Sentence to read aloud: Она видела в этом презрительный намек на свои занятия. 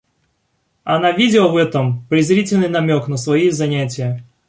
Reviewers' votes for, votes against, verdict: 2, 0, accepted